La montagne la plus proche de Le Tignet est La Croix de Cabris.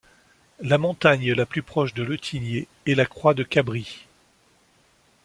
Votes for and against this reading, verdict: 3, 0, accepted